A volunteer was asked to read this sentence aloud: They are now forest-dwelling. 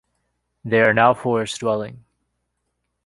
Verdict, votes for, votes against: accepted, 2, 0